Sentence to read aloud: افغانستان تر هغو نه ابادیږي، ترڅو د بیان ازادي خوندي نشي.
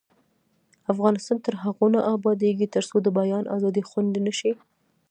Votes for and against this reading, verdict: 2, 1, accepted